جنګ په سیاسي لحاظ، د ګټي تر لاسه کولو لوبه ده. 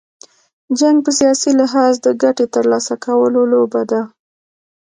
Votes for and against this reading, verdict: 2, 0, accepted